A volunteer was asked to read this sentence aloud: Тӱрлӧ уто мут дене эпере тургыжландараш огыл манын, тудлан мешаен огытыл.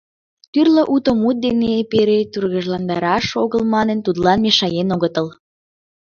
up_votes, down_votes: 2, 1